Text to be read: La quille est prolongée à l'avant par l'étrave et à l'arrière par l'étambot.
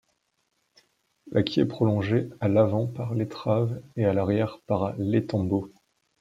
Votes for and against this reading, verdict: 2, 0, accepted